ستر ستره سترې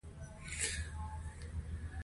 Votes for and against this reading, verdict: 2, 0, accepted